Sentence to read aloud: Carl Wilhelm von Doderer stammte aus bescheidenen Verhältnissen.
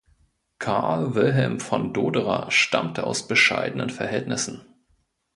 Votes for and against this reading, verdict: 2, 0, accepted